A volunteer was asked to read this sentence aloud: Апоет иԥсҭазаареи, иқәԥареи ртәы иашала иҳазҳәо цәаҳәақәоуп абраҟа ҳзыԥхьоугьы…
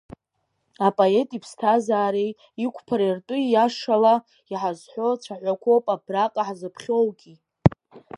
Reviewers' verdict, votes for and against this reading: accepted, 3, 0